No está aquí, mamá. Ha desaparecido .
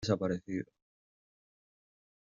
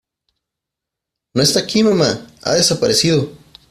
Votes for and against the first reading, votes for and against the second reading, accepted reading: 0, 2, 3, 0, second